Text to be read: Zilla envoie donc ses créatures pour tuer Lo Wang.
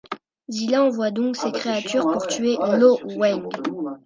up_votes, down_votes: 2, 0